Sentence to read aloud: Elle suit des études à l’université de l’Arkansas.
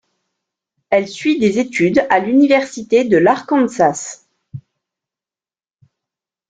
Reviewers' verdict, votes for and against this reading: accepted, 2, 0